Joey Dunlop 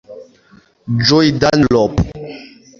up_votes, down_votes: 0, 2